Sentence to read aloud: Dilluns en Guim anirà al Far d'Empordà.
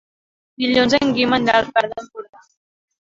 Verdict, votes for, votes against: rejected, 1, 2